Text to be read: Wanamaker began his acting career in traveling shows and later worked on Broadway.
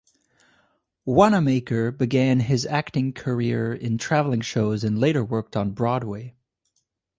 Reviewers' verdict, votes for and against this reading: accepted, 2, 0